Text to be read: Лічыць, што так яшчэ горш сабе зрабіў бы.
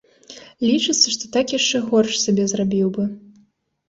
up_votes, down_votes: 1, 2